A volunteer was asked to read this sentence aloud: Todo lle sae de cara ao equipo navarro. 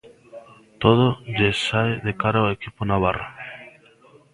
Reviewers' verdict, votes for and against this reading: accepted, 2, 0